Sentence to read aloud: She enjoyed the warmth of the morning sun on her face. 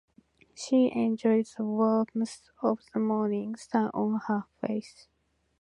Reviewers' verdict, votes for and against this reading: accepted, 2, 1